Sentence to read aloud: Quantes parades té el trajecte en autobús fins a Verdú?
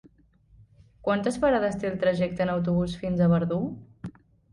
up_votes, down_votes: 3, 0